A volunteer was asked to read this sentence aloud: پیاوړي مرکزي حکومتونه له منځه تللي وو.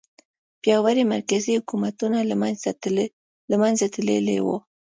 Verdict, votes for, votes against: rejected, 1, 2